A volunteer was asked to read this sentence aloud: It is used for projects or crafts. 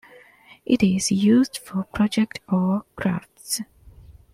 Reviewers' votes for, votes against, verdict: 2, 0, accepted